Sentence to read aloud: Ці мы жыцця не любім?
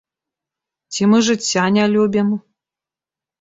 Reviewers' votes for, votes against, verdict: 2, 1, accepted